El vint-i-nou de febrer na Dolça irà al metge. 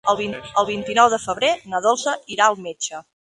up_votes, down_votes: 0, 2